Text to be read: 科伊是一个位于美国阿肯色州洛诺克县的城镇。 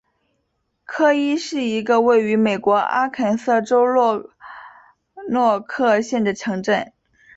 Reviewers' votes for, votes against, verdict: 3, 0, accepted